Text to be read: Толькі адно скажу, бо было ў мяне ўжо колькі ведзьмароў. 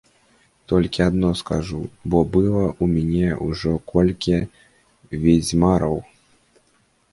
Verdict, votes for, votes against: rejected, 0, 2